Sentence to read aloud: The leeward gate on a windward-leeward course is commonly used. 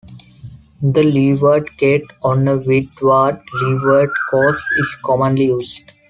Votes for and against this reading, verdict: 2, 0, accepted